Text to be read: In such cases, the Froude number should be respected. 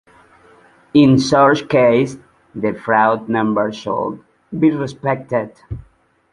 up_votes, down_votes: 0, 2